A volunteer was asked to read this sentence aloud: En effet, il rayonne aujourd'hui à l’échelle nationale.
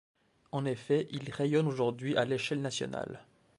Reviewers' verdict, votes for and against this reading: accepted, 2, 0